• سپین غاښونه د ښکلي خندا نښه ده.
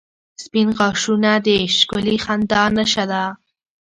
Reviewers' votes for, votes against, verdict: 2, 1, accepted